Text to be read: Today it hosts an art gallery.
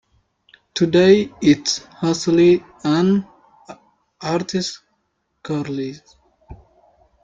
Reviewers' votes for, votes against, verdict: 0, 2, rejected